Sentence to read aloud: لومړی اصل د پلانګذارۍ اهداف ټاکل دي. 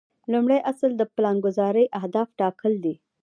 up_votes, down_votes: 2, 0